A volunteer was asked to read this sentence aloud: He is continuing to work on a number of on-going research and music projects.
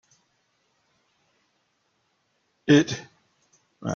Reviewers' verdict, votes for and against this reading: rejected, 0, 2